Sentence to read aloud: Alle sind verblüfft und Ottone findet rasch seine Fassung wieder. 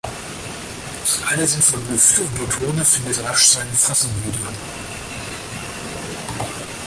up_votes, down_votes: 2, 4